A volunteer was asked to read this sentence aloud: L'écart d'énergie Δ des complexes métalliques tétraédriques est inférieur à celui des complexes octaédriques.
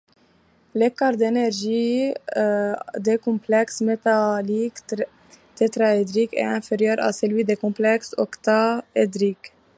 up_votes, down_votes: 1, 2